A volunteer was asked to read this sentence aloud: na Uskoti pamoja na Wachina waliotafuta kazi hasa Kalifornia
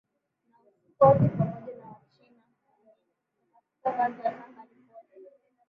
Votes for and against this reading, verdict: 0, 12, rejected